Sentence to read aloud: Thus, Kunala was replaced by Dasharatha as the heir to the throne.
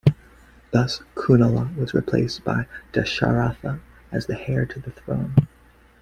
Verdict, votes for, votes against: accepted, 2, 0